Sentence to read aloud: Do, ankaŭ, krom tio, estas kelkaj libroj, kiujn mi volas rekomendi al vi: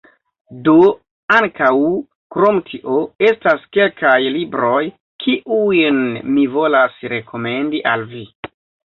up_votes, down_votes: 2, 0